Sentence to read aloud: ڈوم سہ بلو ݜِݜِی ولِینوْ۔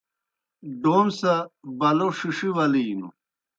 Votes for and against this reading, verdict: 2, 0, accepted